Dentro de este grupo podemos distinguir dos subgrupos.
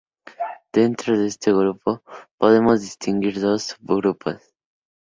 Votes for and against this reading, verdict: 2, 0, accepted